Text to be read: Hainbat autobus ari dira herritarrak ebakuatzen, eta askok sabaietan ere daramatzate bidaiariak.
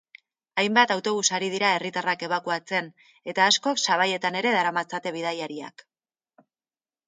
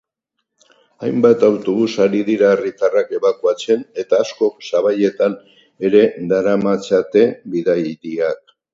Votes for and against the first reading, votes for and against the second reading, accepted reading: 2, 0, 2, 4, first